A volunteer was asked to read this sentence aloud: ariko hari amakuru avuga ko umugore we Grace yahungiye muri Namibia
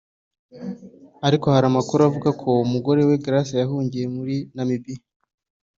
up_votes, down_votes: 2, 0